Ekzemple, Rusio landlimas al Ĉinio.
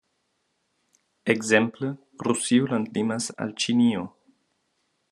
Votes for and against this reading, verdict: 2, 1, accepted